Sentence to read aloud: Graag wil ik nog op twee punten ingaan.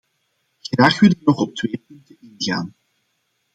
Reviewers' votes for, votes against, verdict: 0, 2, rejected